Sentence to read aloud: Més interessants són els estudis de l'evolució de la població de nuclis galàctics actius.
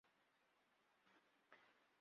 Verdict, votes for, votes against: rejected, 0, 2